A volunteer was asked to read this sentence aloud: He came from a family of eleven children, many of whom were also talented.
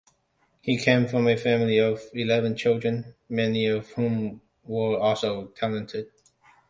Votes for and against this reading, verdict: 2, 0, accepted